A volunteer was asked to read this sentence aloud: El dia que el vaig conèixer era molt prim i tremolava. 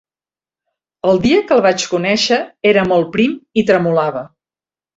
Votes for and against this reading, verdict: 3, 0, accepted